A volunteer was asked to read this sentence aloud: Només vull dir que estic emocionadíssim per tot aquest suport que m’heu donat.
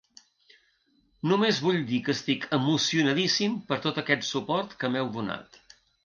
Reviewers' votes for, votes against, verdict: 2, 0, accepted